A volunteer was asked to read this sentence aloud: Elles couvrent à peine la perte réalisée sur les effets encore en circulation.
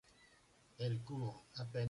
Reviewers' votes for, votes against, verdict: 0, 2, rejected